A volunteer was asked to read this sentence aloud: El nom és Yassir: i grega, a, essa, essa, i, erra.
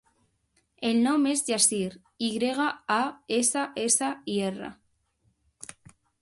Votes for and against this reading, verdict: 2, 0, accepted